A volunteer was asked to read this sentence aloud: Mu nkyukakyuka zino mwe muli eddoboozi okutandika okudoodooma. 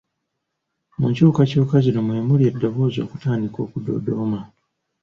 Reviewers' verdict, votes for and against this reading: accepted, 2, 0